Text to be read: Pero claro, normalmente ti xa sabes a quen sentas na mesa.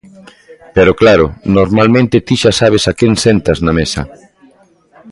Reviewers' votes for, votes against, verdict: 0, 2, rejected